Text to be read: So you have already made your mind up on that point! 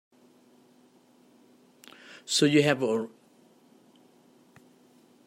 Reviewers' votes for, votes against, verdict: 0, 2, rejected